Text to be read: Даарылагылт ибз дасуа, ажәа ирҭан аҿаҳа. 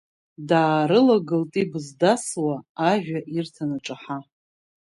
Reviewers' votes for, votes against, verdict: 2, 0, accepted